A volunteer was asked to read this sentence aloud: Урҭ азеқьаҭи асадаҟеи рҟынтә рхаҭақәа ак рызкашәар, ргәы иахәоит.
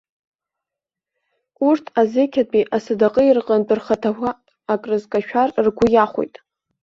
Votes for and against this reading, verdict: 0, 2, rejected